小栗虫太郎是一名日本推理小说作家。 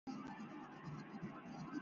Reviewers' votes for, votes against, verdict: 0, 2, rejected